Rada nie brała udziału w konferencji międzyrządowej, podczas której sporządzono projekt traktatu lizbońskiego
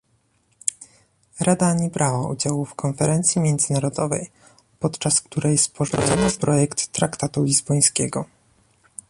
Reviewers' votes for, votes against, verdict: 1, 2, rejected